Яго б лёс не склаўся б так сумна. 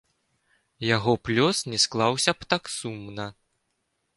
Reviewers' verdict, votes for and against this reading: accepted, 2, 0